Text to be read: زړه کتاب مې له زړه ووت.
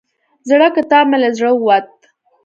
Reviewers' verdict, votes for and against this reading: accepted, 2, 0